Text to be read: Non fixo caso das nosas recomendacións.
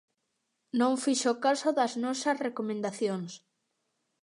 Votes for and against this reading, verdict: 2, 0, accepted